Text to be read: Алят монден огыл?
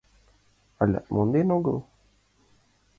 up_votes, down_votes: 2, 1